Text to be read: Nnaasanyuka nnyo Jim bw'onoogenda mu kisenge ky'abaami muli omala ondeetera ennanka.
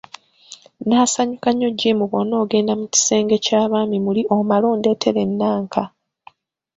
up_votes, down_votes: 2, 0